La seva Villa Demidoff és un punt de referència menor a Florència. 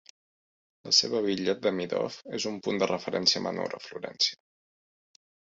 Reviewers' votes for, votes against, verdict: 2, 0, accepted